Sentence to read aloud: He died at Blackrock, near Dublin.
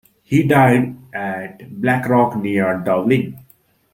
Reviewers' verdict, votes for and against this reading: accepted, 2, 0